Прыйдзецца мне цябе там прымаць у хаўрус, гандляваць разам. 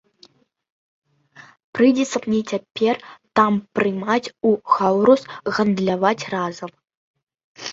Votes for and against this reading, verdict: 1, 2, rejected